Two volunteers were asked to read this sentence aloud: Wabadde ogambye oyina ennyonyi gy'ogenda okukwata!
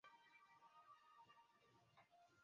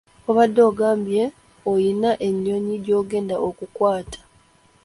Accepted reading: second